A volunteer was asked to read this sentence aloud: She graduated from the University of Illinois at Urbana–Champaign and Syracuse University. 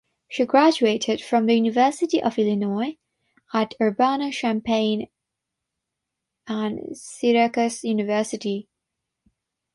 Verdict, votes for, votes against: rejected, 6, 6